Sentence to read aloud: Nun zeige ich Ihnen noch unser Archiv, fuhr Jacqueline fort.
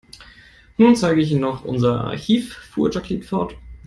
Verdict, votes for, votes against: accepted, 2, 0